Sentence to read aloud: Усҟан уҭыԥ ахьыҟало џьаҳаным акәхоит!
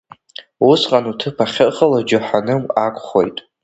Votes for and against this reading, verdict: 2, 0, accepted